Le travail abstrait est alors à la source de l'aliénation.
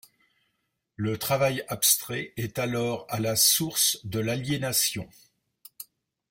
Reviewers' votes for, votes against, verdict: 2, 0, accepted